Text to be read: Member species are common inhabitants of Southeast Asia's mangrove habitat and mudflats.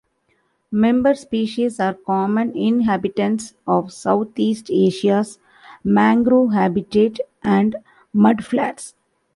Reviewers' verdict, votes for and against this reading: accepted, 2, 0